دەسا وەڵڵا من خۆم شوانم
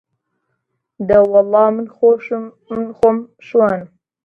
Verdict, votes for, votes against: rejected, 0, 2